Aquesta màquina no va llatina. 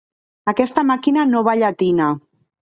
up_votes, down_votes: 2, 0